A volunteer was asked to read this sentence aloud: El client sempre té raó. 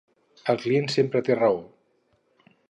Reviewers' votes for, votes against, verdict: 4, 0, accepted